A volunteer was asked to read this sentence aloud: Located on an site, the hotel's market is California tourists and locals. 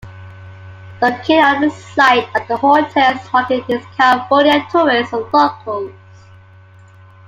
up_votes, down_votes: 2, 0